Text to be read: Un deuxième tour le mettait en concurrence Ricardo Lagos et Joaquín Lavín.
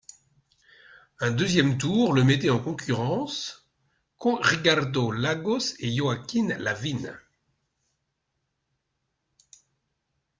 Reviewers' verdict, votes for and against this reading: accepted, 2, 0